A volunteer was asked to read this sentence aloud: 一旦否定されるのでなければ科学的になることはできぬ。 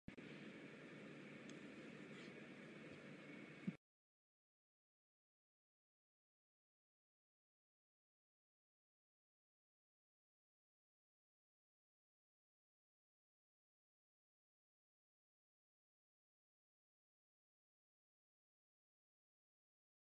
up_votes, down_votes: 0, 2